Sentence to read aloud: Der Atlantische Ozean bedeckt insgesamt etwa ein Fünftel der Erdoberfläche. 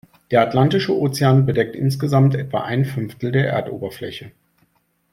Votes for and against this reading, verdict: 2, 0, accepted